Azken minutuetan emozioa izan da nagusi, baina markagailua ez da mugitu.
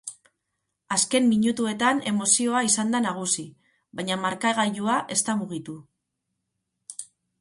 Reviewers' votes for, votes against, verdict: 6, 0, accepted